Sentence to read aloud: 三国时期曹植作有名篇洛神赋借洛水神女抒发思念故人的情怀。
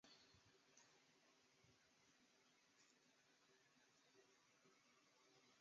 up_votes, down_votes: 0, 2